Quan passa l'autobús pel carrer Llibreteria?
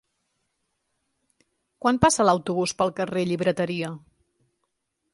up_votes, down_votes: 3, 0